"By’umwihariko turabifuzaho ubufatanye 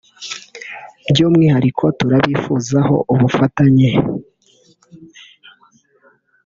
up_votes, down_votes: 2, 0